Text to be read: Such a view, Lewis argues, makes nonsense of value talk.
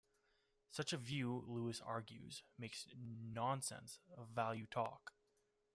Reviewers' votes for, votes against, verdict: 2, 0, accepted